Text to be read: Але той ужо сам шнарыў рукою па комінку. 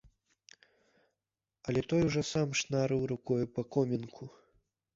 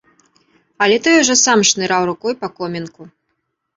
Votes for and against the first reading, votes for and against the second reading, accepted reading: 2, 1, 0, 2, first